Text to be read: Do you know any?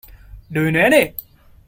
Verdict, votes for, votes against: rejected, 0, 2